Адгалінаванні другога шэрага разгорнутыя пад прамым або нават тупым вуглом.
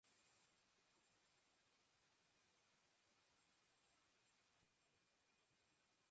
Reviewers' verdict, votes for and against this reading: rejected, 0, 2